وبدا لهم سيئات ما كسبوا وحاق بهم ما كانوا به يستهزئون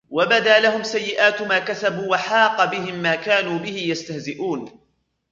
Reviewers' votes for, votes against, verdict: 2, 1, accepted